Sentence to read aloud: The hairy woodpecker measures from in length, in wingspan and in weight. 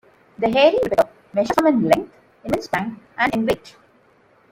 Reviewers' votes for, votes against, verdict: 0, 2, rejected